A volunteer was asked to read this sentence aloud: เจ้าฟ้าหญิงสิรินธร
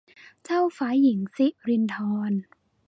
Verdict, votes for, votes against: rejected, 1, 2